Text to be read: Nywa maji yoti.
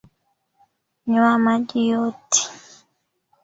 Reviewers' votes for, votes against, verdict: 2, 1, accepted